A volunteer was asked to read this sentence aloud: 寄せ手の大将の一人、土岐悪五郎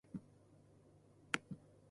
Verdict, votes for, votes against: rejected, 0, 2